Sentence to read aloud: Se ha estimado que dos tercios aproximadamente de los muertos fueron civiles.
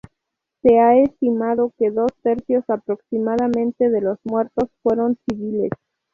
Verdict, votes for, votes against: rejected, 0, 2